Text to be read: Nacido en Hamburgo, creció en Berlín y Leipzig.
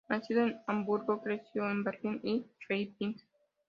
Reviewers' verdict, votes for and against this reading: accepted, 2, 0